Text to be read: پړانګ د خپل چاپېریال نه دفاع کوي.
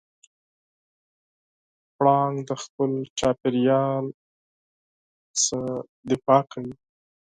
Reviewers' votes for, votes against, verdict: 0, 4, rejected